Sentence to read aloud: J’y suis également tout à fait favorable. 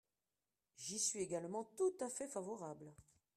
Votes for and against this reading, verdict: 1, 2, rejected